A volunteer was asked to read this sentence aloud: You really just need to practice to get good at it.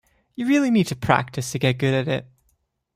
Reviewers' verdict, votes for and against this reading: rejected, 1, 2